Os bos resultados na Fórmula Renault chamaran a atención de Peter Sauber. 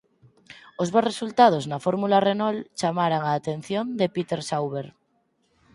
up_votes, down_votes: 4, 0